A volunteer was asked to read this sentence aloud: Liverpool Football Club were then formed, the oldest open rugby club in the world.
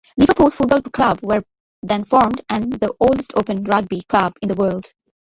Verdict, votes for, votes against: rejected, 1, 2